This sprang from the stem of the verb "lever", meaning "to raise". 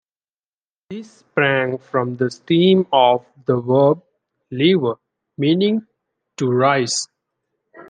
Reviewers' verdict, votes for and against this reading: rejected, 1, 2